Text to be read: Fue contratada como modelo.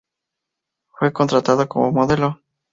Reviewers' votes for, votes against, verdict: 2, 0, accepted